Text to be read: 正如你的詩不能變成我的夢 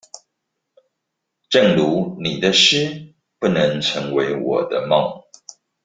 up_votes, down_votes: 0, 2